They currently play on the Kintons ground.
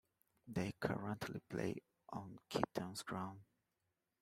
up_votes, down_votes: 2, 1